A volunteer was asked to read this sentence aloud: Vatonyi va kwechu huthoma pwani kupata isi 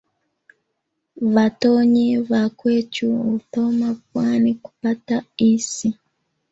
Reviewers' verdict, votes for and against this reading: rejected, 1, 2